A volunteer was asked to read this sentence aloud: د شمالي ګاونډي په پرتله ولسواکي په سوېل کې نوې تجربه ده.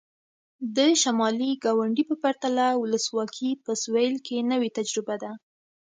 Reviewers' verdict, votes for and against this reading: accepted, 2, 0